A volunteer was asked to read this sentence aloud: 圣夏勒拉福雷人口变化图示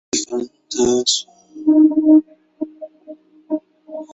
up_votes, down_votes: 0, 2